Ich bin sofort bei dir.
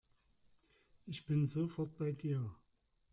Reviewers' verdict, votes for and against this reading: accepted, 2, 0